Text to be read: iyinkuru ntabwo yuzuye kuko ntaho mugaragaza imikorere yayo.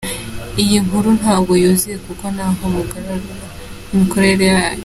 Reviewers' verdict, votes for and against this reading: accepted, 2, 1